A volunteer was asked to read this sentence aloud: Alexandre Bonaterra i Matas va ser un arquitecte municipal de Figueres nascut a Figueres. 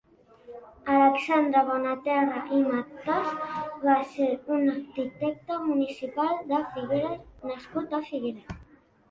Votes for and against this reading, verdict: 3, 2, accepted